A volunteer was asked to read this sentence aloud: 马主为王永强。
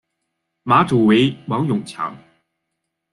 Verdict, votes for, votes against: accepted, 2, 1